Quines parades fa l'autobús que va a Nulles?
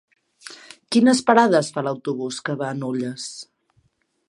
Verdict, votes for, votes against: accepted, 3, 0